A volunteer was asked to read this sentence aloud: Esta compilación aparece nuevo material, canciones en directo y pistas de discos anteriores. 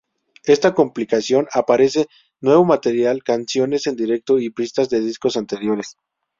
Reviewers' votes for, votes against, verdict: 2, 2, rejected